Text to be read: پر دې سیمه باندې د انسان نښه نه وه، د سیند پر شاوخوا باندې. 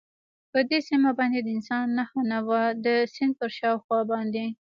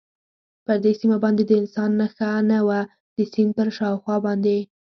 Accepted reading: second